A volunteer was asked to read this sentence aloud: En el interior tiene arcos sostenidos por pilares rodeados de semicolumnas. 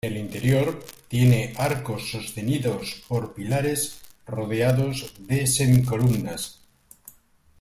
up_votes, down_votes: 2, 1